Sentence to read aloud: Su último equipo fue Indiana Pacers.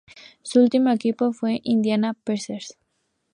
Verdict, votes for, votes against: accepted, 4, 0